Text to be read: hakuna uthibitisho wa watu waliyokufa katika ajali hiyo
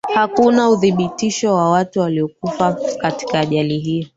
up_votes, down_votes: 0, 2